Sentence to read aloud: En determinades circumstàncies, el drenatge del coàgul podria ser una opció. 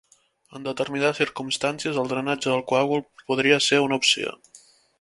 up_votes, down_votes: 3, 0